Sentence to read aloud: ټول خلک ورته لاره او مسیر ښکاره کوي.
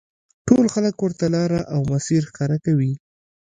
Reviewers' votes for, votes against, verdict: 2, 0, accepted